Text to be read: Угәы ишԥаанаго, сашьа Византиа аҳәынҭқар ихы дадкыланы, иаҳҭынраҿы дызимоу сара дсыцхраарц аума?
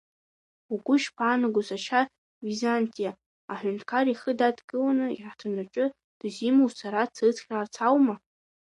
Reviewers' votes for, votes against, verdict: 3, 2, accepted